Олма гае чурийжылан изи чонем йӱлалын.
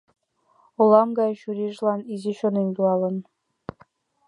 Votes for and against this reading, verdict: 2, 0, accepted